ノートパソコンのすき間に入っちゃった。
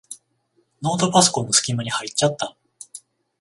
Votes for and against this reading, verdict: 14, 7, accepted